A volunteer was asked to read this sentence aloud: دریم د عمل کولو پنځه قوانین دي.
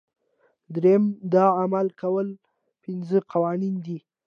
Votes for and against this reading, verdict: 2, 1, accepted